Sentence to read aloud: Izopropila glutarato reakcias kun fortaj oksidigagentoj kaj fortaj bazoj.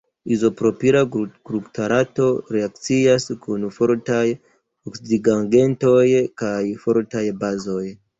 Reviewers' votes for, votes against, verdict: 1, 2, rejected